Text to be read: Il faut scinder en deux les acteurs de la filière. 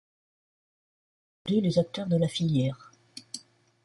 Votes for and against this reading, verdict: 0, 2, rejected